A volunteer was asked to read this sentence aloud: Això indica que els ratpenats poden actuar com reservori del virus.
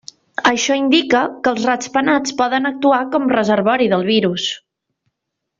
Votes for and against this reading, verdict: 0, 2, rejected